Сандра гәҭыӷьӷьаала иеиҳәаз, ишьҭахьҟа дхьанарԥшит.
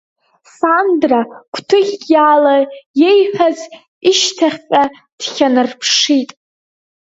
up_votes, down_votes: 1, 2